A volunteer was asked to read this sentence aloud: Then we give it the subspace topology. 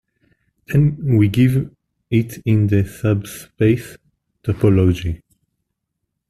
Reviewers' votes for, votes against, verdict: 0, 2, rejected